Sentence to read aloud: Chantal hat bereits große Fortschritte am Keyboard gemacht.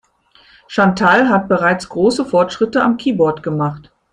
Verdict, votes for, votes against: accepted, 2, 0